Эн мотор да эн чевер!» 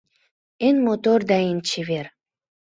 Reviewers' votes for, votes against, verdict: 2, 0, accepted